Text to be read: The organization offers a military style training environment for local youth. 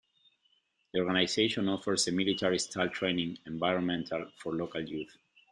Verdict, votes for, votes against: rejected, 0, 2